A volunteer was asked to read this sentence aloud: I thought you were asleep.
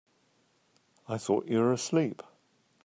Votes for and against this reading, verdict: 2, 0, accepted